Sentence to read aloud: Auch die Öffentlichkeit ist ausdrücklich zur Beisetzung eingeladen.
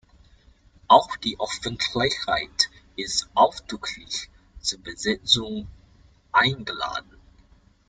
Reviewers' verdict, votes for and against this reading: rejected, 0, 2